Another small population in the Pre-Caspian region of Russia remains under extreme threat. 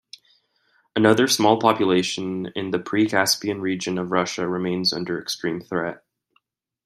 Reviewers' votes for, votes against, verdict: 2, 0, accepted